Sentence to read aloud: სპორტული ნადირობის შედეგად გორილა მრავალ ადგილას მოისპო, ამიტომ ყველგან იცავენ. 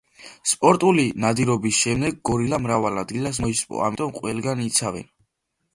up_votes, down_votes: 1, 2